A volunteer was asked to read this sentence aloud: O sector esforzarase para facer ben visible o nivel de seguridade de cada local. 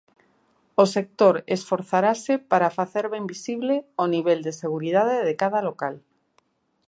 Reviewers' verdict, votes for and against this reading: accepted, 3, 0